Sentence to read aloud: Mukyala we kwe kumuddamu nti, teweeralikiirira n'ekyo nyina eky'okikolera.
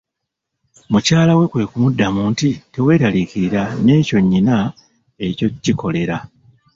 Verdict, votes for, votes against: rejected, 1, 2